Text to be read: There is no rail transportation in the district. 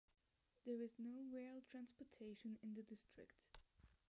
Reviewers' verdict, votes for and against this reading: rejected, 1, 2